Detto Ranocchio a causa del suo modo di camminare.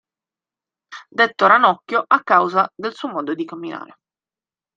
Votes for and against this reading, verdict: 2, 1, accepted